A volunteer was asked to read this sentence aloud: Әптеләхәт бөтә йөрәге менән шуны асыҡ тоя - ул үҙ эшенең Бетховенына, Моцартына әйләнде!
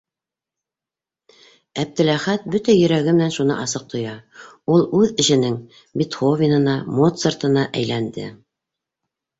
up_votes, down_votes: 2, 0